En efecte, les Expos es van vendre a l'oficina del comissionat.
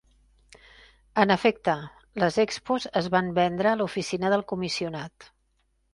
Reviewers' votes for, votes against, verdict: 3, 1, accepted